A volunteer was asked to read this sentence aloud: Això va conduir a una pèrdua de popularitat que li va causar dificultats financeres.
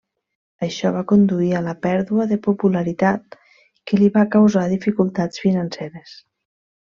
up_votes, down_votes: 0, 2